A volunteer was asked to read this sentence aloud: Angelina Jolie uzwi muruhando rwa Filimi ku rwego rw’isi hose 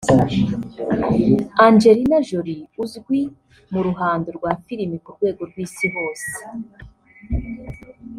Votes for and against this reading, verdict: 1, 2, rejected